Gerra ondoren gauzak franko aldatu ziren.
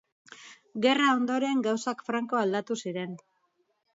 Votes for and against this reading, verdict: 2, 0, accepted